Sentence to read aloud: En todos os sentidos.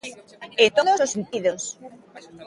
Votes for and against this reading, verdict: 0, 2, rejected